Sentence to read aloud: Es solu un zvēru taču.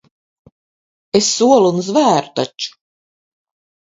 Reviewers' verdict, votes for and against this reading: rejected, 2, 4